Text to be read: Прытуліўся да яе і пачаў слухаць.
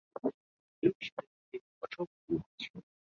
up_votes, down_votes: 0, 2